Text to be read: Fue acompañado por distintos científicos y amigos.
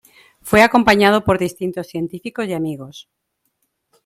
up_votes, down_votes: 2, 1